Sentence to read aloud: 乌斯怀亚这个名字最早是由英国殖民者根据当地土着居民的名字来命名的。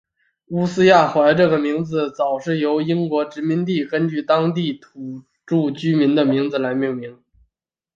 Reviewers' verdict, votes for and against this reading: rejected, 1, 2